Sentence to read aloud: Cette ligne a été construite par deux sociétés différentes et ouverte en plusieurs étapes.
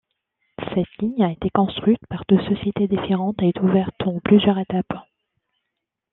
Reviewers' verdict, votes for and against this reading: accepted, 2, 0